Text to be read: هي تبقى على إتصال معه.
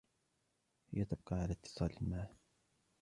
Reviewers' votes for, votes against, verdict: 0, 2, rejected